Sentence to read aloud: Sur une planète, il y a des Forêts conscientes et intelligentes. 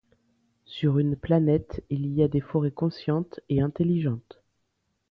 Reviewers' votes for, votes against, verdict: 2, 0, accepted